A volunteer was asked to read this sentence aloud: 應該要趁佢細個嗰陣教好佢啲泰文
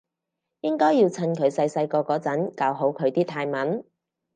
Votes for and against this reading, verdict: 0, 4, rejected